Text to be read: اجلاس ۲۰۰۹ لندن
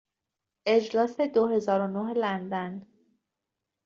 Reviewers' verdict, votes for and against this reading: rejected, 0, 2